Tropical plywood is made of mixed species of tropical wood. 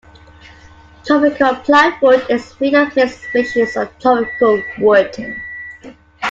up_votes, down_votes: 0, 2